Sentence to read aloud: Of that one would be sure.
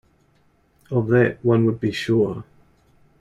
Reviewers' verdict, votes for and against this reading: accepted, 2, 0